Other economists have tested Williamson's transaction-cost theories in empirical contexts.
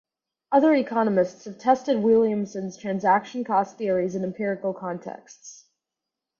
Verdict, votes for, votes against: accepted, 4, 0